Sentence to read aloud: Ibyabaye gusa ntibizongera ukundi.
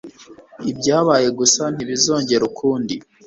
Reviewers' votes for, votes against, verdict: 3, 0, accepted